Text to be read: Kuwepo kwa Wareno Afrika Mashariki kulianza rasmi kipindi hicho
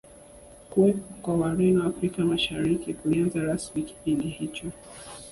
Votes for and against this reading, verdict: 2, 0, accepted